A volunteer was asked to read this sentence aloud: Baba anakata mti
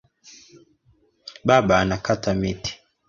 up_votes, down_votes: 1, 2